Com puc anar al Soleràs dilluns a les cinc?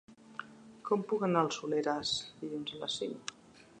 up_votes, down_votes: 2, 0